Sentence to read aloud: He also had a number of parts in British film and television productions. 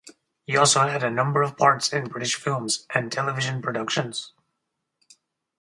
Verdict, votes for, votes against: rejected, 2, 2